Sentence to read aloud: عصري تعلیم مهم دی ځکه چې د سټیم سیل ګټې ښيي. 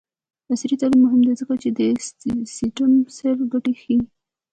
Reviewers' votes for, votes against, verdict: 0, 2, rejected